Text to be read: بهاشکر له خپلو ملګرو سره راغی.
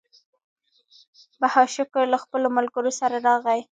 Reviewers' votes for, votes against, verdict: 1, 2, rejected